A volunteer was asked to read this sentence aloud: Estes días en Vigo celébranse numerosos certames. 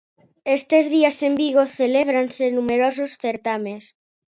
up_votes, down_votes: 2, 0